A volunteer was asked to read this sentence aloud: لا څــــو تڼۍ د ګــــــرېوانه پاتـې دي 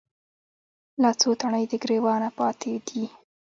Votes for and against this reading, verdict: 0, 2, rejected